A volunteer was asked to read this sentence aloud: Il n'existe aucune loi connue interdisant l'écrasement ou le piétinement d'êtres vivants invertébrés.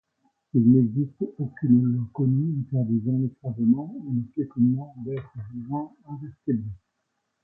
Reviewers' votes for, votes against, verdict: 1, 2, rejected